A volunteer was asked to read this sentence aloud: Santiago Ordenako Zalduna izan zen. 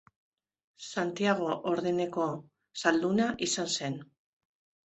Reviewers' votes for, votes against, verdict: 1, 2, rejected